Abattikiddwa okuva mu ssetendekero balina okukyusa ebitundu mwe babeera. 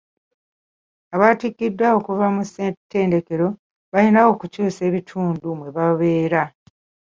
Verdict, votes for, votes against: accepted, 2, 1